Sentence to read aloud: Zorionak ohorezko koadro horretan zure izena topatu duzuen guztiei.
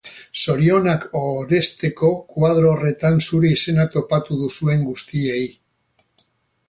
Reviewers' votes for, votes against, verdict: 2, 4, rejected